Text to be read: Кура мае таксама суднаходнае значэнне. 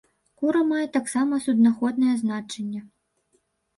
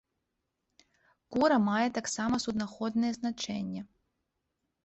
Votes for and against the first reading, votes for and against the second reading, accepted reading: 0, 2, 2, 0, second